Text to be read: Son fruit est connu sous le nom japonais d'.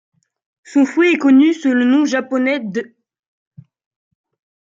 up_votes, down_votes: 2, 0